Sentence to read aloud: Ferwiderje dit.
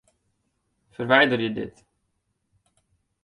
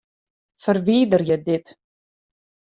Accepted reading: second